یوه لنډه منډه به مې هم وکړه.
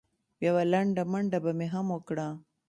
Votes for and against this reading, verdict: 2, 0, accepted